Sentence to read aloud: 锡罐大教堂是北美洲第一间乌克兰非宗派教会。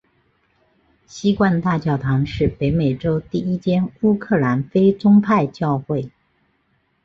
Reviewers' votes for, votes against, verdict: 2, 0, accepted